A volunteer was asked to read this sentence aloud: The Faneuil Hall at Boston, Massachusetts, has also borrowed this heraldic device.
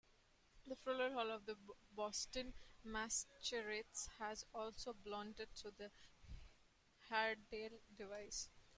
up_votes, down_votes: 0, 2